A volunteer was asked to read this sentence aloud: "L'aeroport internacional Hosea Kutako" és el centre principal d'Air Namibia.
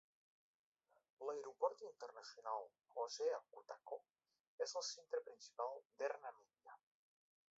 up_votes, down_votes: 2, 0